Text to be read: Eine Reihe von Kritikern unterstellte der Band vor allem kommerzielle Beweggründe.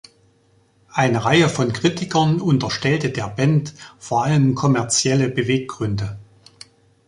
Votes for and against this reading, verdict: 1, 2, rejected